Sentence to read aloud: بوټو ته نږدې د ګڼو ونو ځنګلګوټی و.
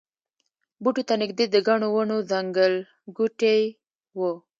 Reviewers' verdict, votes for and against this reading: rejected, 0, 2